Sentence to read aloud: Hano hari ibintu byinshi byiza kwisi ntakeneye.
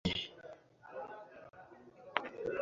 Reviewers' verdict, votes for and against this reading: rejected, 0, 2